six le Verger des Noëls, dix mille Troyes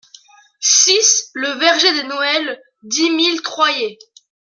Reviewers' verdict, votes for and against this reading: rejected, 1, 2